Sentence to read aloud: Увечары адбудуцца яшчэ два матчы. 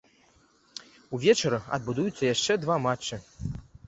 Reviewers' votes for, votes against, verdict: 0, 2, rejected